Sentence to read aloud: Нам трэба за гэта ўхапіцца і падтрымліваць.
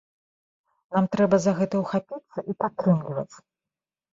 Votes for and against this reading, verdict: 0, 2, rejected